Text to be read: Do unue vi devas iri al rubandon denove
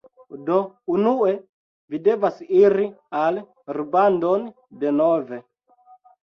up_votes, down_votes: 2, 0